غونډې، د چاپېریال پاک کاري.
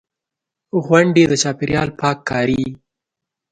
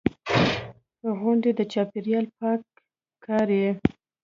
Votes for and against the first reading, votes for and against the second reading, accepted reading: 2, 0, 1, 2, first